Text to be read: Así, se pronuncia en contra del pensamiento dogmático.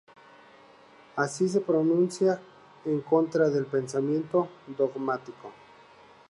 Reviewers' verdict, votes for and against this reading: rejected, 0, 2